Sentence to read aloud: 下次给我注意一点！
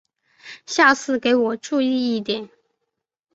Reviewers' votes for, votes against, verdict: 3, 0, accepted